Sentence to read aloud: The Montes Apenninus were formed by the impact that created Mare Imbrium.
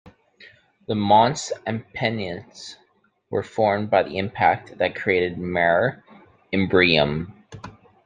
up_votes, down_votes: 0, 2